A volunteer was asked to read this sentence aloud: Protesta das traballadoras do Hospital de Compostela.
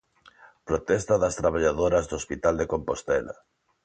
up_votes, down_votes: 2, 0